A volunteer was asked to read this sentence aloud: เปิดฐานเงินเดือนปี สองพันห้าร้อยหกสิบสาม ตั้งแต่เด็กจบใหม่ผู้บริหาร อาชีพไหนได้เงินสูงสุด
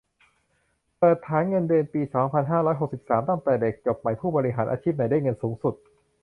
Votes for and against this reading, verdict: 2, 0, accepted